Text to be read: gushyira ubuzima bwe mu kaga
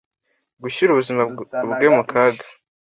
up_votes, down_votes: 2, 1